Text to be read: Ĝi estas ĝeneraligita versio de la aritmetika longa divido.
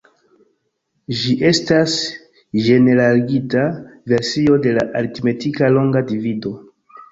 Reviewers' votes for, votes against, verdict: 3, 2, accepted